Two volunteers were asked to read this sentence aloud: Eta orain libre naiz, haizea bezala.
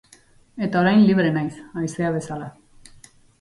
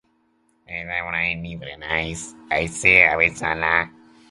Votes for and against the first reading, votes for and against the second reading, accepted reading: 2, 0, 1, 4, first